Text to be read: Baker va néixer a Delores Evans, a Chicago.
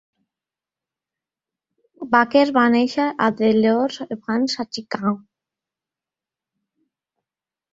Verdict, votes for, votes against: rejected, 0, 2